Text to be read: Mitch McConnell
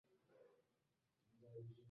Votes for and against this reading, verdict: 0, 2, rejected